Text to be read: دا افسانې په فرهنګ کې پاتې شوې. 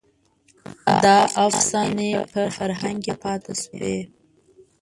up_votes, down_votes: 0, 2